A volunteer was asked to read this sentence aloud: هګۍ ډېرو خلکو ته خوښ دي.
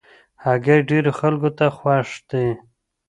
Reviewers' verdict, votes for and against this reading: accepted, 2, 0